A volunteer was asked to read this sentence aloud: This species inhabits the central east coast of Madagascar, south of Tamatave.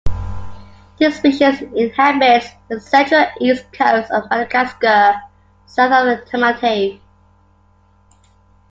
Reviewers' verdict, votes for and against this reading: accepted, 2, 1